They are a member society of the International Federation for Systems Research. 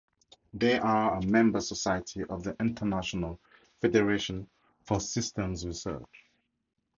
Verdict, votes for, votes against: accepted, 4, 0